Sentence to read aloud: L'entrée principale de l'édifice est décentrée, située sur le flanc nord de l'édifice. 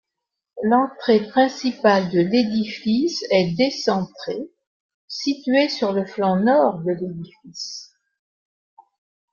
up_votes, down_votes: 2, 0